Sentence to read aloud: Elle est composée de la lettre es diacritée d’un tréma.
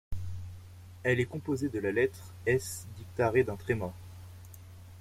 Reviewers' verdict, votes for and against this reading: rejected, 0, 2